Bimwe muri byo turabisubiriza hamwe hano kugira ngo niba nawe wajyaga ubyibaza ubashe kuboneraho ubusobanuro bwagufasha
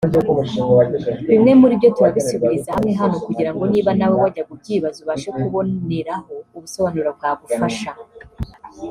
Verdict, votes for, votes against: rejected, 0, 2